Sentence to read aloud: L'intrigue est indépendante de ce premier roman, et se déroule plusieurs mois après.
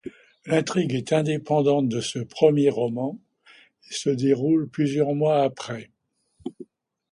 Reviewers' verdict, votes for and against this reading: accepted, 2, 0